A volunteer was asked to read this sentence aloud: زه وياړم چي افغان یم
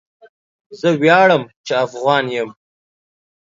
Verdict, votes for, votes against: accepted, 2, 0